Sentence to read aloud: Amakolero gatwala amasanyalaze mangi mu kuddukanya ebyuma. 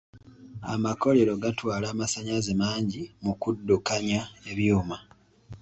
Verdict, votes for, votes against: accepted, 2, 0